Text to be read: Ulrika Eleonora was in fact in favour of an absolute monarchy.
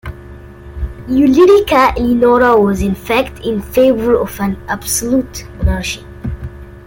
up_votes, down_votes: 0, 2